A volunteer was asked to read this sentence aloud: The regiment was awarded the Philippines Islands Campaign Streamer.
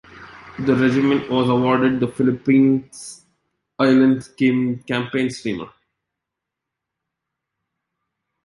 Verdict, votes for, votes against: rejected, 1, 2